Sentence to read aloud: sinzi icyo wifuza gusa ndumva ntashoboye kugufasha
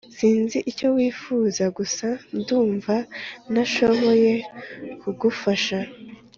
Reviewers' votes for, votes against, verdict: 2, 0, accepted